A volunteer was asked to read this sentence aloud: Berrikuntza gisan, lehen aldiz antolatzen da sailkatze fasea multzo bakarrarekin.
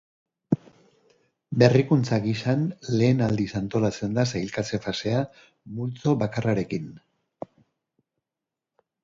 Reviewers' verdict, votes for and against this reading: accepted, 2, 1